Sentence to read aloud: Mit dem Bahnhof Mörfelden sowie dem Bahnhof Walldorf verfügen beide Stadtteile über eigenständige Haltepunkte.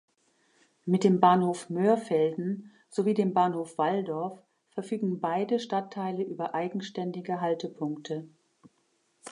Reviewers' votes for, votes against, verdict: 2, 0, accepted